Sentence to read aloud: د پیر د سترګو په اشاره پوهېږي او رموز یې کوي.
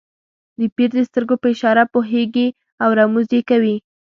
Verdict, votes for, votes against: accepted, 2, 1